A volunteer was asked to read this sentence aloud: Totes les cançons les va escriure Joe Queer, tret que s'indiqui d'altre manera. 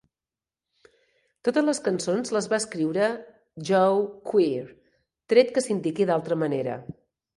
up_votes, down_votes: 2, 0